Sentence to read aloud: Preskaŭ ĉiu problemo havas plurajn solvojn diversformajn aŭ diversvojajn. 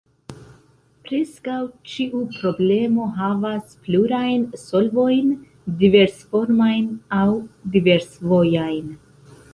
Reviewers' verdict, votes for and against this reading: accepted, 2, 1